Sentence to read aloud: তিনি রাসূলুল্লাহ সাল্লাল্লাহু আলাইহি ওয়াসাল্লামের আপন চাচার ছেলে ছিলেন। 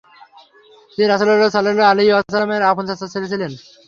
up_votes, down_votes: 0, 3